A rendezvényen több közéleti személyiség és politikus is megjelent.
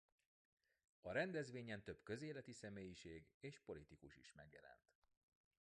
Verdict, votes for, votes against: rejected, 1, 2